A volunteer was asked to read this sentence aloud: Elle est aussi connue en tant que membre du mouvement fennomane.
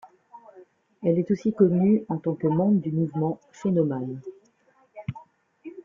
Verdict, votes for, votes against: accepted, 2, 1